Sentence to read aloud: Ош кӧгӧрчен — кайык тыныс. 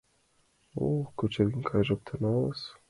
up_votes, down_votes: 0, 2